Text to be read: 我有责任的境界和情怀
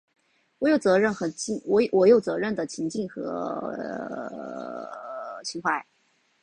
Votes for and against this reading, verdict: 2, 3, rejected